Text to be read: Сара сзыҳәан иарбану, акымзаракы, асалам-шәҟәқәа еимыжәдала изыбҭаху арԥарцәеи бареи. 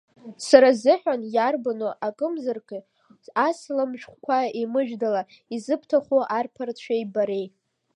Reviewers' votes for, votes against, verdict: 1, 2, rejected